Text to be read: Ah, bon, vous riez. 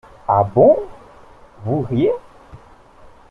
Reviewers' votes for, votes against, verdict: 2, 0, accepted